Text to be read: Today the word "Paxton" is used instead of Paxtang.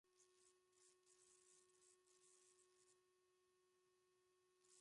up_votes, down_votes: 0, 2